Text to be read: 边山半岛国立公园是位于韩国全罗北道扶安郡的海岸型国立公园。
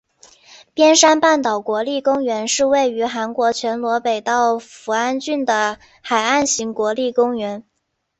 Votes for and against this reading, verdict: 3, 0, accepted